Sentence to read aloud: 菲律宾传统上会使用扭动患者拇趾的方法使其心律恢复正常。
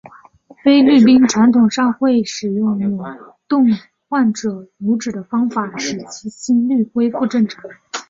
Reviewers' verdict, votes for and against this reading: accepted, 2, 0